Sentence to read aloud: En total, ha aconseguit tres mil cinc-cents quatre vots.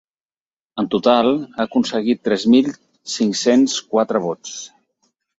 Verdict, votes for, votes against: accepted, 6, 0